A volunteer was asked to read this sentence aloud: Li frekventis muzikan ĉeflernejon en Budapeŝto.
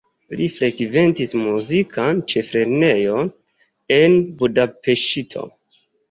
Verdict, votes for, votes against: rejected, 1, 2